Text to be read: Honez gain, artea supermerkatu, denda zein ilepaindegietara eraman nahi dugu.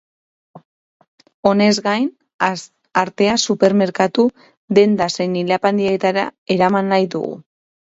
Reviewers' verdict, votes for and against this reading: rejected, 2, 2